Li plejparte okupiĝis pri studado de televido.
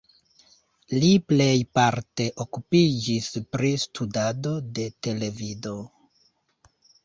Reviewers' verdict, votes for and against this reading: accepted, 2, 0